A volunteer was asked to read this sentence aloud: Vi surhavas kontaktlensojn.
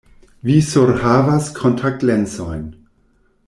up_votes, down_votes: 2, 0